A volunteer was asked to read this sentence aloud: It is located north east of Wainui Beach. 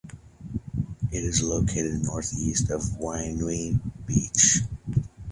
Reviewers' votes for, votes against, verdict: 2, 0, accepted